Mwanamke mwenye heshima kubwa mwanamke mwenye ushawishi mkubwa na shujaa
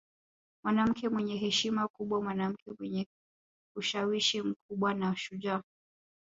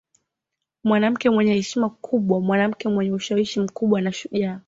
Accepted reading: second